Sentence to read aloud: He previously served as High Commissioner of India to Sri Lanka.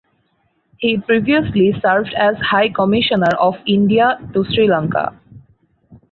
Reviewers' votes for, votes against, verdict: 4, 0, accepted